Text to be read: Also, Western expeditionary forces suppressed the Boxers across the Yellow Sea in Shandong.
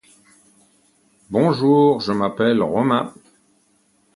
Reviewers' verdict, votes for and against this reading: rejected, 0, 2